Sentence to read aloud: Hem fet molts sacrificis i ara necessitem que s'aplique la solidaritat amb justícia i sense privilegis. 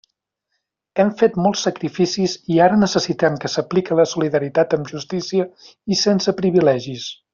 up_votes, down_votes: 2, 0